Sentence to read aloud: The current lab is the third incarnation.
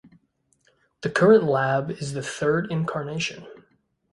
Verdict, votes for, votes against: accepted, 2, 0